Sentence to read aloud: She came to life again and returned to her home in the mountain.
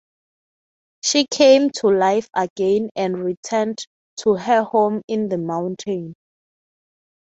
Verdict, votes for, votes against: accepted, 3, 0